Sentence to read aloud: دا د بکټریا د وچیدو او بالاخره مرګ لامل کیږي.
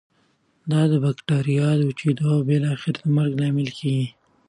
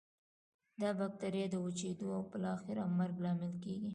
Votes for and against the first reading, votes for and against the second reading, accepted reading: 2, 0, 1, 2, first